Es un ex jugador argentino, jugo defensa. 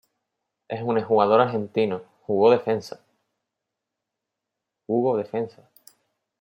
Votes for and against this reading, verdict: 1, 2, rejected